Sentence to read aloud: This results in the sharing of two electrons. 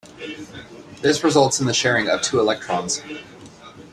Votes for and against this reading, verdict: 2, 1, accepted